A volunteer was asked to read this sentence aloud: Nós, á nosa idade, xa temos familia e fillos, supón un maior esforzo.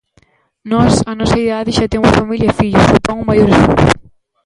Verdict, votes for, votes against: rejected, 0, 2